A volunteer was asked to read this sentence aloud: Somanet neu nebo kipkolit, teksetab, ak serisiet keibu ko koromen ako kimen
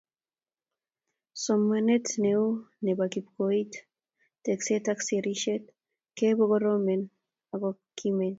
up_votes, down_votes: 0, 2